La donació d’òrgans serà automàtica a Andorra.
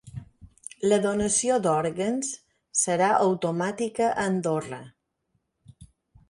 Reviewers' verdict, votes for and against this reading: accepted, 6, 0